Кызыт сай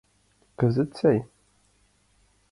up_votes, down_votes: 2, 0